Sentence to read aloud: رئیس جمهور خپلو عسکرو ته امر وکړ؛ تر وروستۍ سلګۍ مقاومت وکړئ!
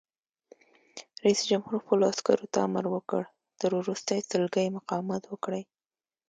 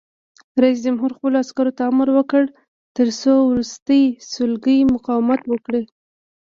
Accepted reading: first